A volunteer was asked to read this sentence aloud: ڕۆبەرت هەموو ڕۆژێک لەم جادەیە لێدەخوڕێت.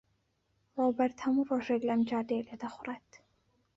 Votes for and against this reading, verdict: 2, 0, accepted